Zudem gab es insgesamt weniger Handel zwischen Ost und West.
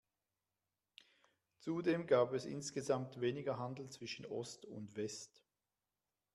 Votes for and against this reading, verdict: 1, 2, rejected